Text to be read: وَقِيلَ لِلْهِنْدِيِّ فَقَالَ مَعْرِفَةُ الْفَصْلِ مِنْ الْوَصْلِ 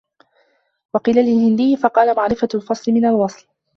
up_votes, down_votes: 2, 1